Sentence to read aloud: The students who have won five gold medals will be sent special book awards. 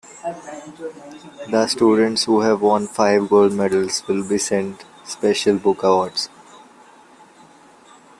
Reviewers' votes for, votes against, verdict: 2, 1, accepted